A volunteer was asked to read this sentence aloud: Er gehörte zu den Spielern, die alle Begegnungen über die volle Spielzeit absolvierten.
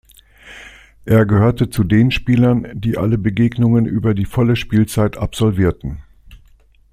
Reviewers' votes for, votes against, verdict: 2, 0, accepted